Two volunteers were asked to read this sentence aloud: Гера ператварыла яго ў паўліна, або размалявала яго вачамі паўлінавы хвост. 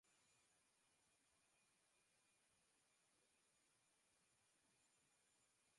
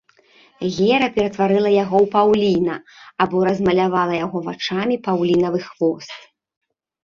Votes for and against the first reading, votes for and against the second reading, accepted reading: 0, 2, 2, 0, second